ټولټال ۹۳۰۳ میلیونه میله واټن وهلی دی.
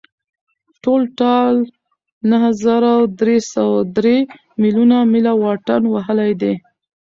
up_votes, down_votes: 0, 2